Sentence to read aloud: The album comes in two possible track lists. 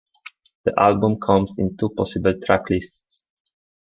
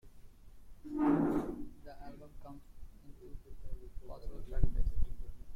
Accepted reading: first